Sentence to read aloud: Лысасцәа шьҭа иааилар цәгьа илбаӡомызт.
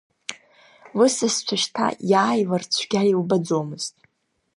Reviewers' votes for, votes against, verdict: 2, 1, accepted